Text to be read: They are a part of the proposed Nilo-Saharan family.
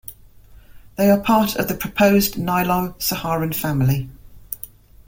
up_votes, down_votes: 1, 2